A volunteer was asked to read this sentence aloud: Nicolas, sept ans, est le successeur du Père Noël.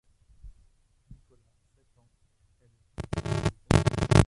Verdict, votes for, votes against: rejected, 0, 2